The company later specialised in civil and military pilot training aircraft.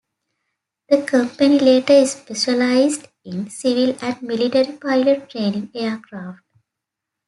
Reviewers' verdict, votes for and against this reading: accepted, 2, 0